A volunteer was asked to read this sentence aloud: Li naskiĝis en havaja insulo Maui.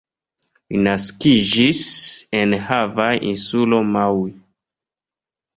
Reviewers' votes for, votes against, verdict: 2, 1, accepted